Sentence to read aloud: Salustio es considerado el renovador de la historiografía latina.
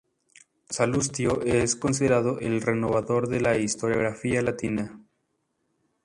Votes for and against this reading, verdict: 0, 2, rejected